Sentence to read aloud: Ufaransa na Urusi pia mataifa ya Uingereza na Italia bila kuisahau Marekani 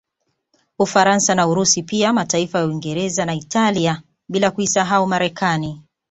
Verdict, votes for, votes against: accepted, 2, 0